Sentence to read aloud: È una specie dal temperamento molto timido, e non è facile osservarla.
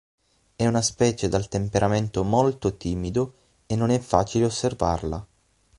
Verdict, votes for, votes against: accepted, 9, 0